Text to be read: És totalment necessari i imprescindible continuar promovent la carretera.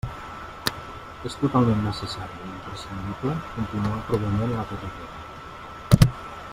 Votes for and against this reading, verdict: 0, 2, rejected